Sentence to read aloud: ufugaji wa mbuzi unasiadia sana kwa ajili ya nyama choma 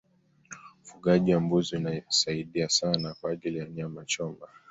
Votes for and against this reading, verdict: 2, 0, accepted